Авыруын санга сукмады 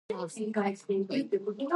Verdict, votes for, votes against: rejected, 0, 2